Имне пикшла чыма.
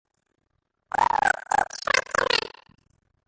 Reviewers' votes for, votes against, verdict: 0, 2, rejected